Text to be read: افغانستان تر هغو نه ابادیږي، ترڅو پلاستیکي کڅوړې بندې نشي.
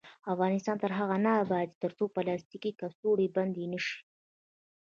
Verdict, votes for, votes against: rejected, 1, 2